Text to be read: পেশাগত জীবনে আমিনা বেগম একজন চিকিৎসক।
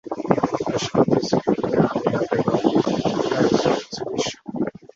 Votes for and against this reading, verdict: 2, 0, accepted